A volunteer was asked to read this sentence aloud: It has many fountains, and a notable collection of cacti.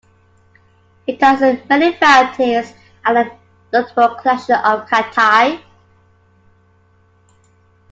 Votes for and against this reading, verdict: 1, 2, rejected